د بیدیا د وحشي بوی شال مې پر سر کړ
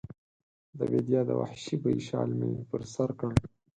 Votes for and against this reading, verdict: 2, 4, rejected